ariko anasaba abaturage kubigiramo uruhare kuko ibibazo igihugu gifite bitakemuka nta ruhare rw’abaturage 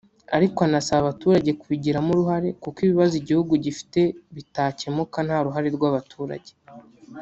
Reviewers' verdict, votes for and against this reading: rejected, 1, 2